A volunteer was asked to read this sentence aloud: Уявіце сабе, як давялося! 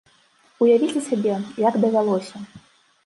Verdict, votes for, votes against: accepted, 2, 0